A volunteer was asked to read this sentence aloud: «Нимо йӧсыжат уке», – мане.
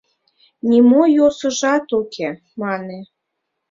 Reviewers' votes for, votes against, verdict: 0, 2, rejected